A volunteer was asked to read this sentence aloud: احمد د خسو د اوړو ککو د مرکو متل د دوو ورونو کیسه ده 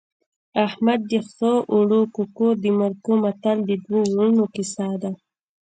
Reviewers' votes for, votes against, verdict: 0, 2, rejected